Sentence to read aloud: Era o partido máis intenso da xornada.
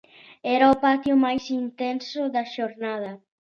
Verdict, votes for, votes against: rejected, 0, 2